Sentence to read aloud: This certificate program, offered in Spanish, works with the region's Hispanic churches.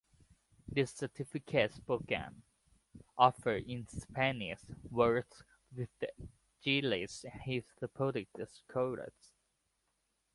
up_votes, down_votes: 0, 2